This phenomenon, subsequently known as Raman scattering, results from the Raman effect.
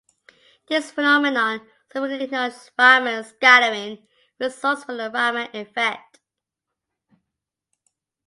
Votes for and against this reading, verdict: 0, 2, rejected